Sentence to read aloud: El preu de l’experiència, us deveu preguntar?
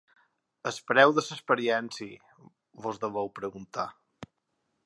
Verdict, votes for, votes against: rejected, 1, 3